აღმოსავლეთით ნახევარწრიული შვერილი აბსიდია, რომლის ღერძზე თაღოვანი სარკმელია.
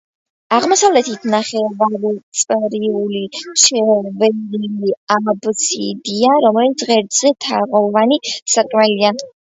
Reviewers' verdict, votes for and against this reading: rejected, 0, 2